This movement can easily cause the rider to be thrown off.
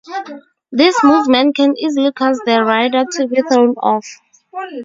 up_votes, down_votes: 2, 2